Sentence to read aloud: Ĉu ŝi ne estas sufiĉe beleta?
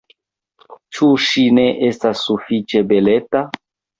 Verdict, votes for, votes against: rejected, 1, 2